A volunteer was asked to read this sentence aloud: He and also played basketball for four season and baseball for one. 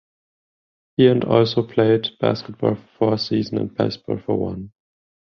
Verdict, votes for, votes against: rejected, 0, 10